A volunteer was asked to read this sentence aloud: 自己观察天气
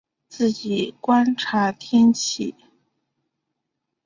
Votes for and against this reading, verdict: 7, 0, accepted